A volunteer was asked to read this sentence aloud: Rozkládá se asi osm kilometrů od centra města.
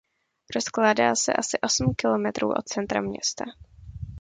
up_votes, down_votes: 2, 0